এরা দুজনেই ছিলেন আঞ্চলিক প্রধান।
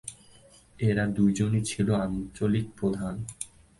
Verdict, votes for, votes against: rejected, 0, 2